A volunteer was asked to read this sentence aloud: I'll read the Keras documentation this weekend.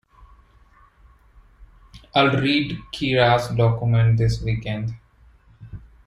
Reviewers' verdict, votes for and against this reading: rejected, 1, 2